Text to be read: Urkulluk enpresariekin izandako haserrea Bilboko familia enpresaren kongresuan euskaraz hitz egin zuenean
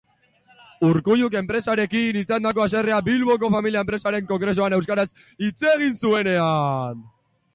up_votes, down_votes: 0, 2